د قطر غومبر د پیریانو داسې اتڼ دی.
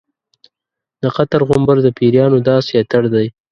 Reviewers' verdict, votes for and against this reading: accepted, 2, 1